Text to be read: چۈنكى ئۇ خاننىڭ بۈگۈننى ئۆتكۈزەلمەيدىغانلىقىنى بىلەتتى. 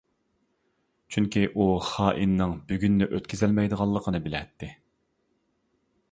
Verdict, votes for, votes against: rejected, 0, 2